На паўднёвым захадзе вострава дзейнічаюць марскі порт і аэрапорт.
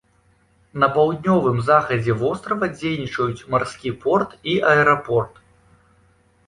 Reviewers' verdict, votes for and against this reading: accepted, 2, 0